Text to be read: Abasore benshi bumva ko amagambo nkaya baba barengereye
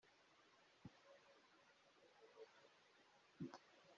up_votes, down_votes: 0, 2